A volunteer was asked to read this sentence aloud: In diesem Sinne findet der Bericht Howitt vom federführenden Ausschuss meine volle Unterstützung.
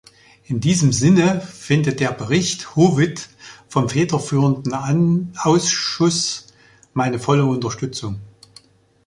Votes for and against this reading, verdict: 0, 2, rejected